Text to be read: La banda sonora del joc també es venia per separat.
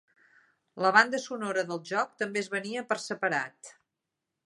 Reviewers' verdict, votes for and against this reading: accepted, 3, 0